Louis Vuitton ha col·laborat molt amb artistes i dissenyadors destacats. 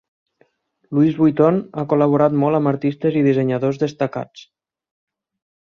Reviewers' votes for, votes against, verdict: 4, 0, accepted